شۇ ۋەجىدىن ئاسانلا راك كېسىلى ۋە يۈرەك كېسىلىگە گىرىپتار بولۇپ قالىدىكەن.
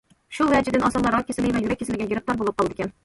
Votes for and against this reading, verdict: 2, 0, accepted